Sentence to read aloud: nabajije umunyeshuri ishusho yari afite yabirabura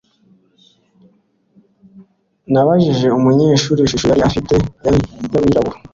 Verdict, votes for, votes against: rejected, 1, 2